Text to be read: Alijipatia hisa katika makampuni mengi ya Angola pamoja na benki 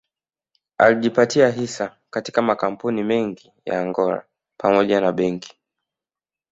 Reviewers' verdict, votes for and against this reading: accepted, 2, 0